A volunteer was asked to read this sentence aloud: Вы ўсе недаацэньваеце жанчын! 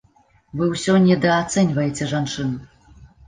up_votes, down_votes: 1, 2